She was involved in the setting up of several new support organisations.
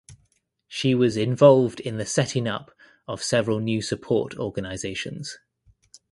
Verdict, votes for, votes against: accepted, 2, 0